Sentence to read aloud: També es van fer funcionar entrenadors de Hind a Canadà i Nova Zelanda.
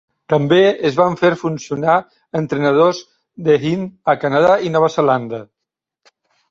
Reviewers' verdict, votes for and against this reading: accepted, 2, 0